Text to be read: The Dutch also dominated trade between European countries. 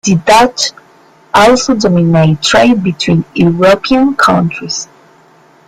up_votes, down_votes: 0, 2